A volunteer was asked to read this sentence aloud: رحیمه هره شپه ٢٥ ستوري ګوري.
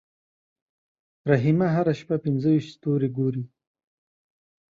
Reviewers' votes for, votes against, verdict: 0, 2, rejected